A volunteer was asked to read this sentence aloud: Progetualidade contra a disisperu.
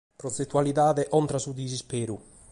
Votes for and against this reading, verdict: 0, 2, rejected